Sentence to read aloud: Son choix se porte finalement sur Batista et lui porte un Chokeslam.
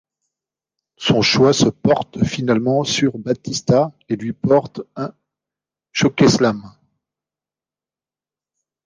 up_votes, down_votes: 2, 0